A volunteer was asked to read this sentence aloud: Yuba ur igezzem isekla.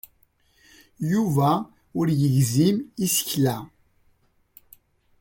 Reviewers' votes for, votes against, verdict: 2, 0, accepted